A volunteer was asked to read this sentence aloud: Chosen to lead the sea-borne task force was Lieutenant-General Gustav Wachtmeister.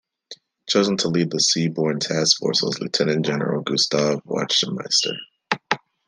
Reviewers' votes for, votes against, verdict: 1, 2, rejected